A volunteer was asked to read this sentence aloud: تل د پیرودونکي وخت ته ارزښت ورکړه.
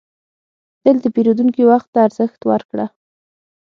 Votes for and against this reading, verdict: 6, 0, accepted